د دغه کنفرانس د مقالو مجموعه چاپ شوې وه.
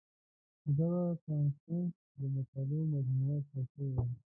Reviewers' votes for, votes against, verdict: 1, 2, rejected